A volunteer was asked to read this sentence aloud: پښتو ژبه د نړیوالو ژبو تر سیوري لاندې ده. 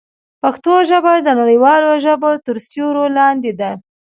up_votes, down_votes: 2, 0